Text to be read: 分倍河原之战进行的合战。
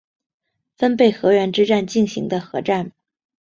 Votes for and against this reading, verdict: 2, 0, accepted